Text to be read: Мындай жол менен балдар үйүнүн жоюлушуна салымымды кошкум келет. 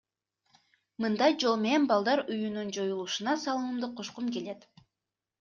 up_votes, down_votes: 2, 0